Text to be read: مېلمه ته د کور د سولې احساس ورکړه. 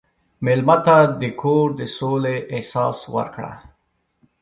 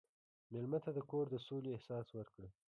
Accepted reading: first